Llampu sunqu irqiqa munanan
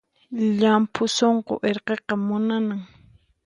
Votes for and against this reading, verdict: 4, 0, accepted